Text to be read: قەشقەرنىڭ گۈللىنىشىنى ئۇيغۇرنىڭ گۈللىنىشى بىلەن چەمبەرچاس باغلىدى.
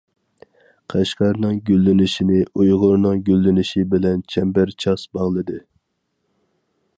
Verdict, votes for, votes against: accepted, 4, 0